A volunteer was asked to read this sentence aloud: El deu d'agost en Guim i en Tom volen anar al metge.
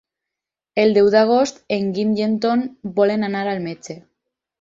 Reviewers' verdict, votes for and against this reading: accepted, 4, 0